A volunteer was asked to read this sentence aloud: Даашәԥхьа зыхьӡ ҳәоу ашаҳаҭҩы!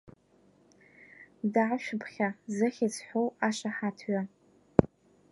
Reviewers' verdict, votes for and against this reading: rejected, 1, 2